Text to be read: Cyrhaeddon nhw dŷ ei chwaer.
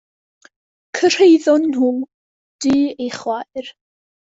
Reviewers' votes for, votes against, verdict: 2, 0, accepted